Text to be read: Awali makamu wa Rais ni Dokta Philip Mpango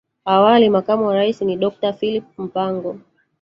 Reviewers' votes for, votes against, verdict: 1, 2, rejected